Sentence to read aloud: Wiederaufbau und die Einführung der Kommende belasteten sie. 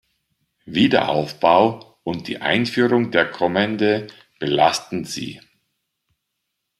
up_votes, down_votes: 0, 2